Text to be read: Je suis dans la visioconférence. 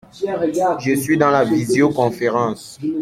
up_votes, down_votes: 0, 2